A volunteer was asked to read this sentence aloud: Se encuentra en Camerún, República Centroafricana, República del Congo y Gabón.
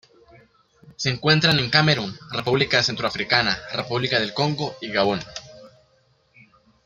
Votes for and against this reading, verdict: 1, 2, rejected